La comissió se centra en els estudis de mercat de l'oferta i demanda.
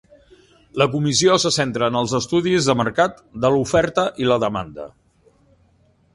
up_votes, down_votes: 1, 2